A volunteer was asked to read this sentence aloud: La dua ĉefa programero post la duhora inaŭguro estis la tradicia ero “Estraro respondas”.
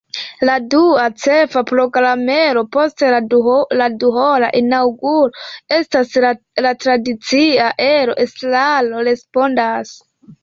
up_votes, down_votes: 1, 2